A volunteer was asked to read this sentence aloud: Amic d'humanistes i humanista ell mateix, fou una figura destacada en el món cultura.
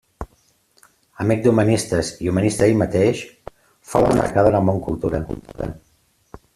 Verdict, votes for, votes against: rejected, 0, 2